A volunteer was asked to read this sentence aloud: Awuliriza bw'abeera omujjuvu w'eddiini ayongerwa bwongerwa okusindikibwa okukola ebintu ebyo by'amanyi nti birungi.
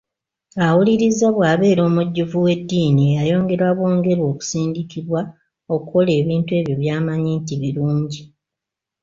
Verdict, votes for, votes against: rejected, 0, 2